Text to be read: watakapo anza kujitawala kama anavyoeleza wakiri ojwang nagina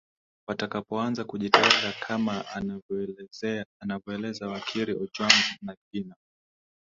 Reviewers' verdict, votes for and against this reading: rejected, 0, 2